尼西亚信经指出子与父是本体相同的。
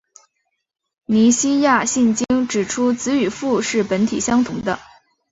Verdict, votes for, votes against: accepted, 2, 0